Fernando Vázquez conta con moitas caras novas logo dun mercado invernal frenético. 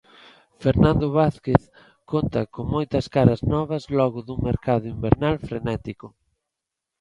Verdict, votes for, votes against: accepted, 2, 0